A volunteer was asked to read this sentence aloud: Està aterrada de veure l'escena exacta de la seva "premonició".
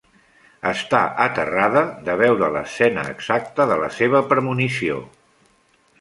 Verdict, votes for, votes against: accepted, 3, 0